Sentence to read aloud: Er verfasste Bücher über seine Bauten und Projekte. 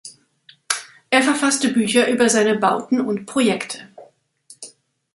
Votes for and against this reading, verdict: 2, 0, accepted